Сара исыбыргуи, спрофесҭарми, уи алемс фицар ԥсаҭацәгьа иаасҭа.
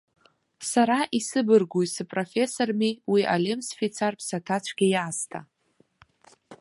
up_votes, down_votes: 1, 2